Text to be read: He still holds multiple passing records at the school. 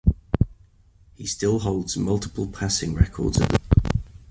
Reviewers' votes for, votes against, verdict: 0, 2, rejected